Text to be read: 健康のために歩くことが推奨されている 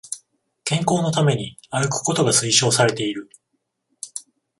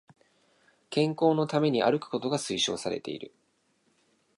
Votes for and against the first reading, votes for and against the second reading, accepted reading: 7, 14, 2, 0, second